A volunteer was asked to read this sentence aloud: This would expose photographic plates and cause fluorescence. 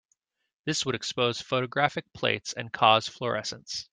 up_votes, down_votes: 2, 0